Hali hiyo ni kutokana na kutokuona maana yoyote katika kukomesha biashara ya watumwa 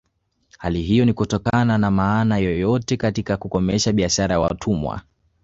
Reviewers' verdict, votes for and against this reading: rejected, 1, 2